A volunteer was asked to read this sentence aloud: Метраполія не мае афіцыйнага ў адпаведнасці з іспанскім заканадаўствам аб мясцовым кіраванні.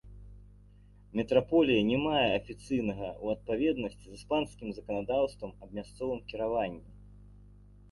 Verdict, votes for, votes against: accepted, 2, 0